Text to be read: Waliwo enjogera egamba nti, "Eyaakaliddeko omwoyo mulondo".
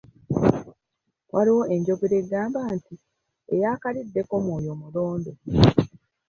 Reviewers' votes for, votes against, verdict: 2, 1, accepted